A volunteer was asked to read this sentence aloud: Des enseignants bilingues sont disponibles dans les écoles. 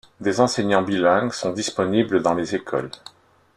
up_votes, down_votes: 2, 0